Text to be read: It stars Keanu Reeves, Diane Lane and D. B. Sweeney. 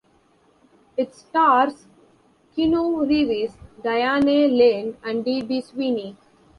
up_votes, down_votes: 0, 2